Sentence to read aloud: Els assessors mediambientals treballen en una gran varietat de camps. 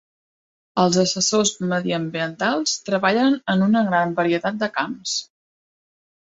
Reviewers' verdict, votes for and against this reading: accepted, 2, 0